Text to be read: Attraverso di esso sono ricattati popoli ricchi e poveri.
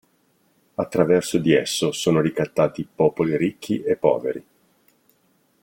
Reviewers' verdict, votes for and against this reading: accepted, 2, 0